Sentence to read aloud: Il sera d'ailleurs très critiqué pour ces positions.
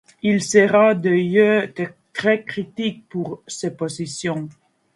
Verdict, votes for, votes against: rejected, 0, 2